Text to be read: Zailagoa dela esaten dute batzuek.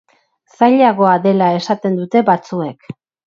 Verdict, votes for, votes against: accepted, 4, 0